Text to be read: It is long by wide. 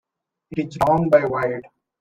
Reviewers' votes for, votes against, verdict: 0, 2, rejected